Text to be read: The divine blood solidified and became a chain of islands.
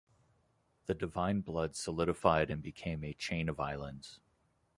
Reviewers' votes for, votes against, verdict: 2, 0, accepted